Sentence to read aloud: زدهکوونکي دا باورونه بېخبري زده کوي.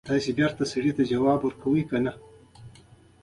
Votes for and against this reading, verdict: 1, 2, rejected